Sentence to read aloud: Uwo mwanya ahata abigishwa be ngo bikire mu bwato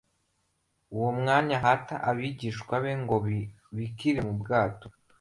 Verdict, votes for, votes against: rejected, 1, 2